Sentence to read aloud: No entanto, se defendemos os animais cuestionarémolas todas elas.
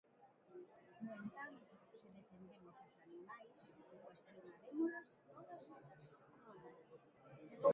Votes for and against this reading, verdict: 0, 2, rejected